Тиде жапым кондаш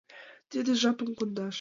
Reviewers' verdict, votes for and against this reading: accepted, 2, 0